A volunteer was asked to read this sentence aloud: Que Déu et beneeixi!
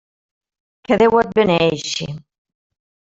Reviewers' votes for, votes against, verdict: 3, 1, accepted